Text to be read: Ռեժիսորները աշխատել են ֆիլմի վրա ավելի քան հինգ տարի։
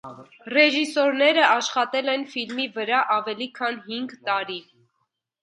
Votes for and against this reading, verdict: 1, 2, rejected